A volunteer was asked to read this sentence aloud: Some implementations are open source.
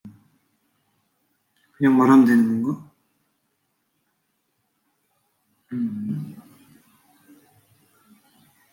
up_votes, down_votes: 0, 2